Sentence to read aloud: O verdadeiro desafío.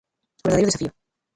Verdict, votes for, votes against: rejected, 0, 2